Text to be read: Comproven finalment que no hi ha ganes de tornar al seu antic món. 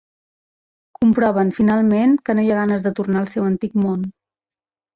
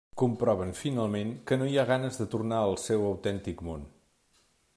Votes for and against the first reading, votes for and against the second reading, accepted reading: 3, 0, 0, 2, first